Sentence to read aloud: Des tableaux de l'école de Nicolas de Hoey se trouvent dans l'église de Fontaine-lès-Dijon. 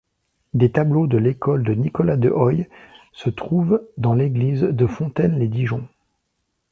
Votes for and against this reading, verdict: 1, 2, rejected